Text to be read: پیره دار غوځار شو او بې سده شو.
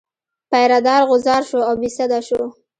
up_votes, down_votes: 2, 1